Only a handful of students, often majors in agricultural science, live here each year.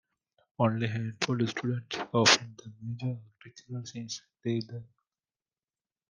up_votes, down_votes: 0, 2